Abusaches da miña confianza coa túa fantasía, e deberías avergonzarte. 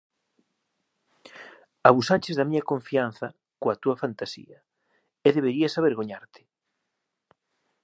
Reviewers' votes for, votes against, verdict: 1, 2, rejected